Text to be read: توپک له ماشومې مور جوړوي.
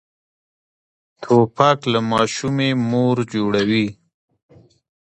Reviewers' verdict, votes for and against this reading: rejected, 1, 2